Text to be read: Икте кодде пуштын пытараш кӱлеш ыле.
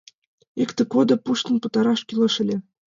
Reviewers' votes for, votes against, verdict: 2, 0, accepted